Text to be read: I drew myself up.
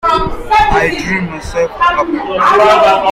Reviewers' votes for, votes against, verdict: 0, 2, rejected